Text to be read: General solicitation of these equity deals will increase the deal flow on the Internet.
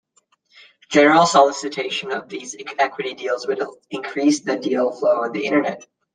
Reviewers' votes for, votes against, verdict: 0, 2, rejected